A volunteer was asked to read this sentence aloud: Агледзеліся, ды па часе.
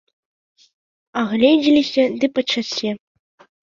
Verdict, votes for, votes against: rejected, 1, 2